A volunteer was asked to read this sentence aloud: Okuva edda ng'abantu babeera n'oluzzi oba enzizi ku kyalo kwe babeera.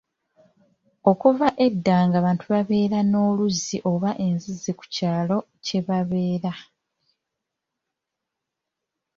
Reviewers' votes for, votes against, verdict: 0, 2, rejected